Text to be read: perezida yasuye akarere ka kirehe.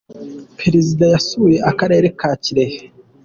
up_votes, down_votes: 2, 1